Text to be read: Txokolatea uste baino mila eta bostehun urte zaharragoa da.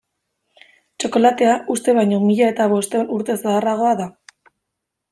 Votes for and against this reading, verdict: 2, 0, accepted